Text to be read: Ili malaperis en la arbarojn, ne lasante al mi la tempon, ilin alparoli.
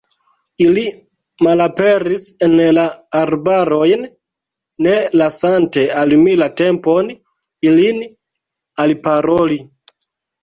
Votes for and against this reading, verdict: 0, 2, rejected